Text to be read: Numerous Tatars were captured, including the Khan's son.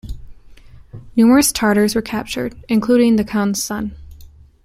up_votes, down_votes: 2, 0